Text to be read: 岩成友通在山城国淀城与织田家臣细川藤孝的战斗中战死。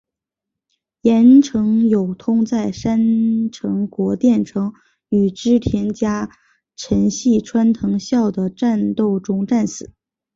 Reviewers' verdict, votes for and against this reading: accepted, 2, 1